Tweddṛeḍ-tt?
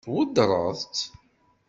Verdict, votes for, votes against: accepted, 2, 0